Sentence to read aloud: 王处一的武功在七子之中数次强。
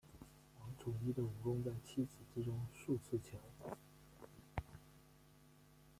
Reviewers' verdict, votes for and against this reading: rejected, 0, 2